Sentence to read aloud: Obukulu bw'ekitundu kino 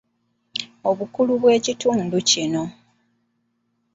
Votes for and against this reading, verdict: 2, 0, accepted